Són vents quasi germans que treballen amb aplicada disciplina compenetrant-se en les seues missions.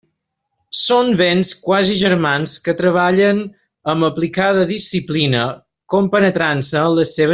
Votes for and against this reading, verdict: 0, 2, rejected